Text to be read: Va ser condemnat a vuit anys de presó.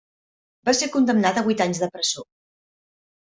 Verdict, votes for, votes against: accepted, 2, 0